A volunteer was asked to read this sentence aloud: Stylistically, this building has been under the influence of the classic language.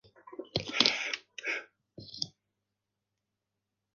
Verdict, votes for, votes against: rejected, 0, 2